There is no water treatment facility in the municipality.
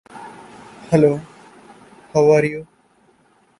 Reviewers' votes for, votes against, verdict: 0, 2, rejected